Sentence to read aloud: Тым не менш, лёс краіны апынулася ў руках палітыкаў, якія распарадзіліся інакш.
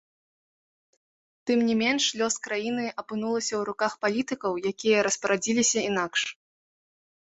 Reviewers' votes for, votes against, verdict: 1, 2, rejected